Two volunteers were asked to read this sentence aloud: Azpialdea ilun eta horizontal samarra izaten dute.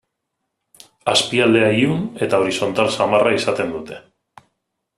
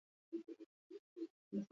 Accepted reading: first